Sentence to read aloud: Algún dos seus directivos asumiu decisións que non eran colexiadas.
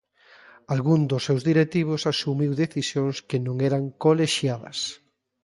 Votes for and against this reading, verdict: 2, 0, accepted